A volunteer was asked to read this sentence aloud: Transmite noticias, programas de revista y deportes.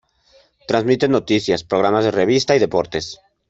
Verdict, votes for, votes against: rejected, 1, 2